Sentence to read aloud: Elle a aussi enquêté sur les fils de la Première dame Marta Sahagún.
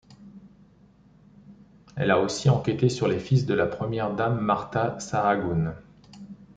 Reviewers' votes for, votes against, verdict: 1, 2, rejected